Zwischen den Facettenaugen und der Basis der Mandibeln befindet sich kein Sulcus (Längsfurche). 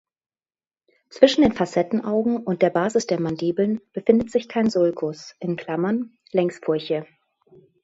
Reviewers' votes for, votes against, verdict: 1, 2, rejected